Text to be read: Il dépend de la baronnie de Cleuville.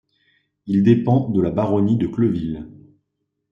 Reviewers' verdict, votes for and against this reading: accepted, 2, 0